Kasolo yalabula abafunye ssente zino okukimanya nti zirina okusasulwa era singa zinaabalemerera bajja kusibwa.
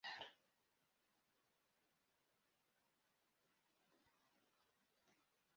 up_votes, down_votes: 0, 2